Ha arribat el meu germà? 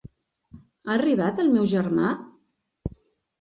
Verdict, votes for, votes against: accepted, 4, 0